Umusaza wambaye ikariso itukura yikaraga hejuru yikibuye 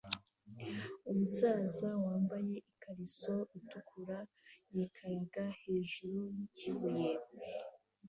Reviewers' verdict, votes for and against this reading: accepted, 2, 0